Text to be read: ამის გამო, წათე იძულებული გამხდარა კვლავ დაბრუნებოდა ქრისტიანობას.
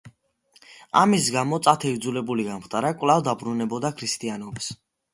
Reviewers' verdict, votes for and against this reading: accepted, 2, 0